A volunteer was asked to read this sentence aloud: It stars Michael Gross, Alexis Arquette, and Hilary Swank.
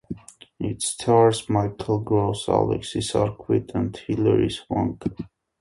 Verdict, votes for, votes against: accepted, 2, 0